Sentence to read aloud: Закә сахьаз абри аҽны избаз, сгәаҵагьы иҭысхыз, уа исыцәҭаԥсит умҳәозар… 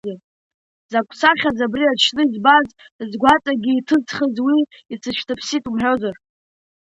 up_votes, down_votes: 0, 2